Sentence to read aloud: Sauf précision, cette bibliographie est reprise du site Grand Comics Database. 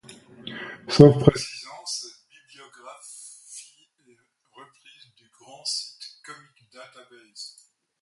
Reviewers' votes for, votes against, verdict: 0, 2, rejected